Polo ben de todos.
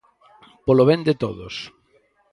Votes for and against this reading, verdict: 4, 0, accepted